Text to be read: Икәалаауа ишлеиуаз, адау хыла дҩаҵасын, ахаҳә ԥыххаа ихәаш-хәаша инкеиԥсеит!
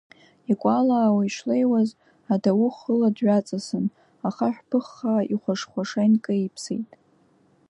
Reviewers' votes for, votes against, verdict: 2, 0, accepted